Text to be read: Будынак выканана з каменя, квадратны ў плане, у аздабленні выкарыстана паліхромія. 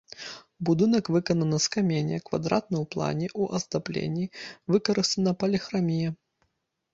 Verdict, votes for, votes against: rejected, 1, 2